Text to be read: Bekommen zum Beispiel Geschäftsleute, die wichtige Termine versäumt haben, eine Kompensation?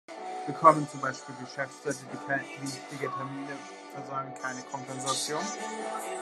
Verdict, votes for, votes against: rejected, 0, 2